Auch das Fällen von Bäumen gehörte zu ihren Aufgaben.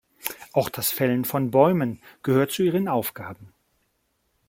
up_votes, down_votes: 1, 2